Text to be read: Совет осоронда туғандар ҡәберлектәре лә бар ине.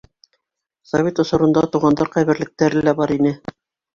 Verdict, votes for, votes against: accepted, 3, 0